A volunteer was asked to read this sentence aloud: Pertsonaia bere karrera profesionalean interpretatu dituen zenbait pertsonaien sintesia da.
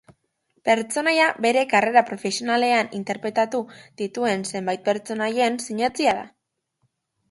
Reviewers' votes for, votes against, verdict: 0, 2, rejected